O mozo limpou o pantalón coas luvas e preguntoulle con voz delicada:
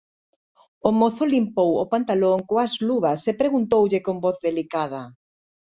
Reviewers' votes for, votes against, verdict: 2, 0, accepted